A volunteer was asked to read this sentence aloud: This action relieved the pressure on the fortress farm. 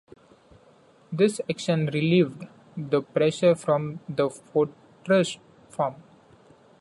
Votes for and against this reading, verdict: 0, 2, rejected